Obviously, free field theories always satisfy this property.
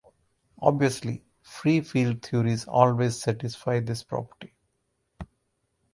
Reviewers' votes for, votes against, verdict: 4, 0, accepted